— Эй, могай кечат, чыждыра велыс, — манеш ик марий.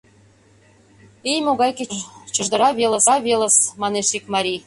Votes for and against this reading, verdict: 0, 2, rejected